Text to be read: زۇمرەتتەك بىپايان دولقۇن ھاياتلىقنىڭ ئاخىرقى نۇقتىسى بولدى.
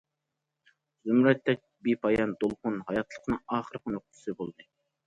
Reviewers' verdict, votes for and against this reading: accepted, 2, 0